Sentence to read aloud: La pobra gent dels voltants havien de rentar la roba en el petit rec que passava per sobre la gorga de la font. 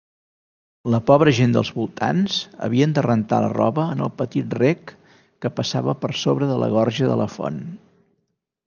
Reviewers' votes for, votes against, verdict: 2, 1, accepted